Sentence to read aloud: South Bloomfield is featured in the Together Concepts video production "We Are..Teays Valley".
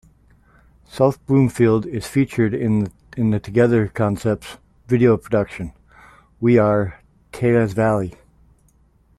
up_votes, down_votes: 0, 2